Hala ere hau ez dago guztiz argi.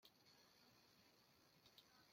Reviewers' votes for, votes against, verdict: 0, 2, rejected